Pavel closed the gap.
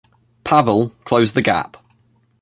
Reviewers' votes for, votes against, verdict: 2, 0, accepted